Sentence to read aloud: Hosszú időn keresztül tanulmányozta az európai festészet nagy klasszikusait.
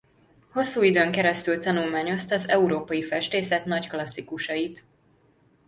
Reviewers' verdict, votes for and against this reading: rejected, 0, 2